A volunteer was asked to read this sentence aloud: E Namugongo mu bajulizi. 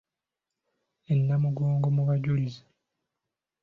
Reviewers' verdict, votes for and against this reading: accepted, 2, 0